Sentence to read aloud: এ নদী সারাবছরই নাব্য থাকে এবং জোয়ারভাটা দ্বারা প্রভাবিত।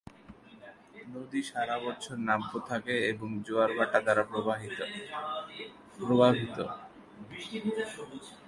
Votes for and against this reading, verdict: 0, 2, rejected